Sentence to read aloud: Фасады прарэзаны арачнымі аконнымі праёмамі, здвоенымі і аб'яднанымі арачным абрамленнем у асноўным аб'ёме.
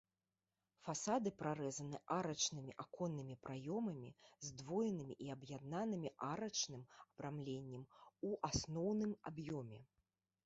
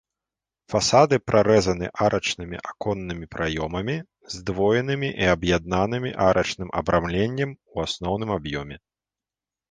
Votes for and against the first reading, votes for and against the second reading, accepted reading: 0, 2, 2, 0, second